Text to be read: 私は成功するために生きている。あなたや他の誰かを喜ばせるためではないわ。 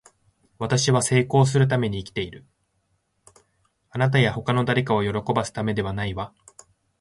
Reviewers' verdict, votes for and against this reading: accepted, 2, 1